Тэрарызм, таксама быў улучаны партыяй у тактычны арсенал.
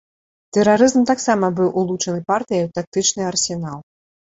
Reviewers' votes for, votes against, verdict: 2, 0, accepted